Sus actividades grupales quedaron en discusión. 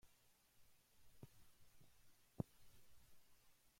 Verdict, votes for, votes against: rejected, 0, 2